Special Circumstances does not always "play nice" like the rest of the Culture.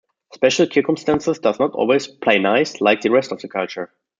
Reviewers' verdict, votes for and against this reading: rejected, 1, 2